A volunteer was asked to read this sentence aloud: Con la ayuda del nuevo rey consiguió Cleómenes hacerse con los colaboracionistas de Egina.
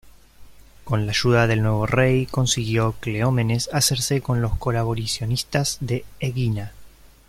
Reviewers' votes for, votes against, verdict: 1, 2, rejected